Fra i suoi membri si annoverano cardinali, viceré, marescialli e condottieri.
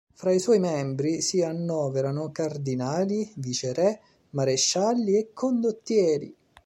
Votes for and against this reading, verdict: 2, 0, accepted